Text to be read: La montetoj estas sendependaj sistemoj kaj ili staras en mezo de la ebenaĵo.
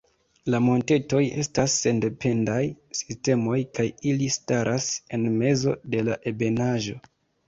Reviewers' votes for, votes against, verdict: 2, 1, accepted